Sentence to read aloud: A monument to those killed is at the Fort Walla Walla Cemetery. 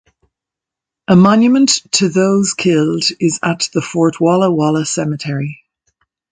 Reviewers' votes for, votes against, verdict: 2, 0, accepted